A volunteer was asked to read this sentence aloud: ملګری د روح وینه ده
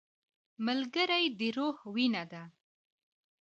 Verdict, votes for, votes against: accepted, 2, 0